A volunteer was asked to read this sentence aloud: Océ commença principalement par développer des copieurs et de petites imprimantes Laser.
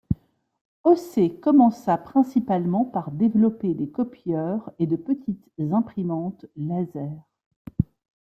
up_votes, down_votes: 2, 0